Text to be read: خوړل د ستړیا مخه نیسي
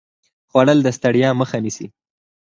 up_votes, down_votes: 4, 0